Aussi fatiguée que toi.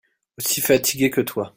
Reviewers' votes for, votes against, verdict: 1, 2, rejected